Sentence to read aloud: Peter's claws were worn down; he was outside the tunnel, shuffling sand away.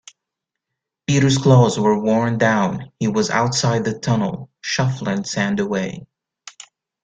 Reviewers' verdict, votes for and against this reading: accepted, 2, 0